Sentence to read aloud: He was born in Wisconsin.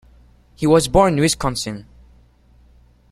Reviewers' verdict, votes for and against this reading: rejected, 0, 2